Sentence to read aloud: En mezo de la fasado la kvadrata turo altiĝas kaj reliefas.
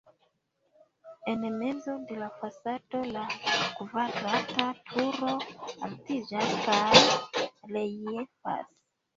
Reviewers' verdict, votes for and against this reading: rejected, 0, 2